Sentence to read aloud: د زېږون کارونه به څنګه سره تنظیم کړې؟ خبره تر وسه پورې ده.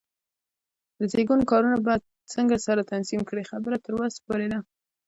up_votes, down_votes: 2, 0